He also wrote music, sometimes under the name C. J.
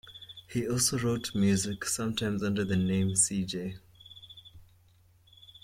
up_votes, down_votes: 2, 0